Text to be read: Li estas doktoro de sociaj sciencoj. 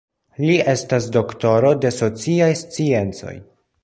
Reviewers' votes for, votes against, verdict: 2, 0, accepted